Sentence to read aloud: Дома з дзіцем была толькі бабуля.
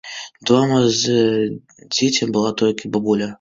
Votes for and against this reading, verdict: 1, 2, rejected